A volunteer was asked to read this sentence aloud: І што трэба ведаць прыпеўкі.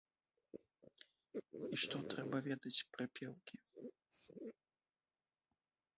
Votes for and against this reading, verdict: 0, 2, rejected